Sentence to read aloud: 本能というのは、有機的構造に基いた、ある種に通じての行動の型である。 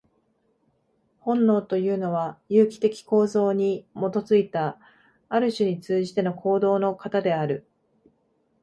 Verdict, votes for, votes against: accepted, 2, 0